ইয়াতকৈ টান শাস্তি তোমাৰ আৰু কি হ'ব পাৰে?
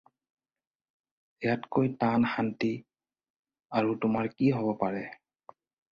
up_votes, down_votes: 0, 4